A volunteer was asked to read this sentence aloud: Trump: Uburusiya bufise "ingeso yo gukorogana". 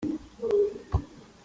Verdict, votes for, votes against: rejected, 0, 3